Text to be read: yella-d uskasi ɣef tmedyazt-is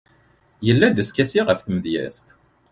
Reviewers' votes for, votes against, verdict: 1, 2, rejected